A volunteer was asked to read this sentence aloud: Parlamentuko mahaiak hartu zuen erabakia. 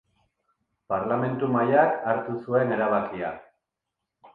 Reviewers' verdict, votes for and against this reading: rejected, 1, 2